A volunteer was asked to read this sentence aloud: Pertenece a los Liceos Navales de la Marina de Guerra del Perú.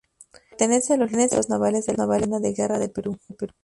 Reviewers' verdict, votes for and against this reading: rejected, 0, 4